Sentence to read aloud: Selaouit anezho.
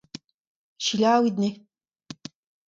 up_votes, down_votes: 2, 0